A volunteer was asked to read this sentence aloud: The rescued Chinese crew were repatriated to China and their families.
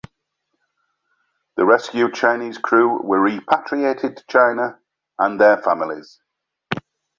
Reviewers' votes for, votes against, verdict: 2, 0, accepted